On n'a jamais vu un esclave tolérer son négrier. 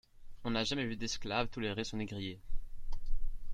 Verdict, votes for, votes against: rejected, 1, 2